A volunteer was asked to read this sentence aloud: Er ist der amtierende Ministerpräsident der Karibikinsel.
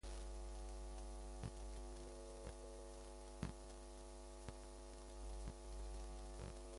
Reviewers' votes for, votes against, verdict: 0, 2, rejected